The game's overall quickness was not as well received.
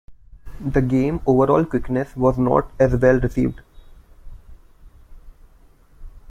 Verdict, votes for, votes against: rejected, 1, 2